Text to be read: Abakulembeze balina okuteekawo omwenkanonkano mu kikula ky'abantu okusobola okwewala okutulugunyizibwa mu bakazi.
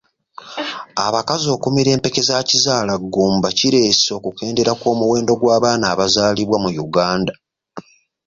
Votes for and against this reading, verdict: 0, 2, rejected